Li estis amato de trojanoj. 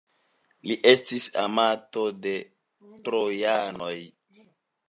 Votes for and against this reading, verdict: 2, 0, accepted